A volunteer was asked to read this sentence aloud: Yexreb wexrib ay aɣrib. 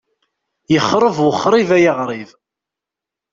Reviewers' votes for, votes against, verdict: 2, 0, accepted